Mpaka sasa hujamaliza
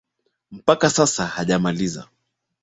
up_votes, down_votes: 2, 0